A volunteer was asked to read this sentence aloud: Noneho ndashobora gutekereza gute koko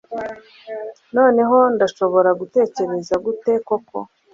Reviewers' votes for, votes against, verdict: 2, 0, accepted